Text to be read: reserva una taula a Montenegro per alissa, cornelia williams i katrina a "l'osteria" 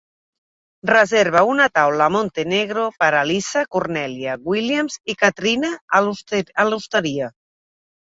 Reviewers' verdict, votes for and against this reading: rejected, 0, 2